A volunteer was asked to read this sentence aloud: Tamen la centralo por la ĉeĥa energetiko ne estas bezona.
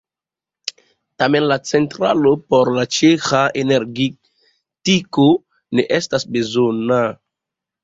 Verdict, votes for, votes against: rejected, 1, 2